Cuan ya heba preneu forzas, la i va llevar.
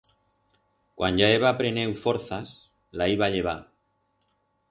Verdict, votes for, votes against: rejected, 2, 4